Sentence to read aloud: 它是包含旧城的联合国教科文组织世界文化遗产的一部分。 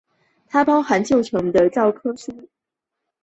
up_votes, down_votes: 0, 5